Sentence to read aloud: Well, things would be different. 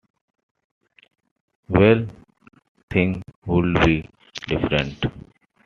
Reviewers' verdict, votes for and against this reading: rejected, 0, 2